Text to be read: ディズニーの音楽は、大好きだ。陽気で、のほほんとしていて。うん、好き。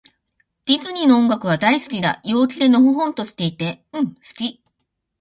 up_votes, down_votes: 1, 2